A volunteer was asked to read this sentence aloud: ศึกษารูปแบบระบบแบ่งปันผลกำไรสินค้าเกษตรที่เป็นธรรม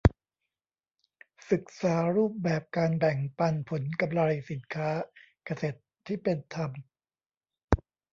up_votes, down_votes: 1, 2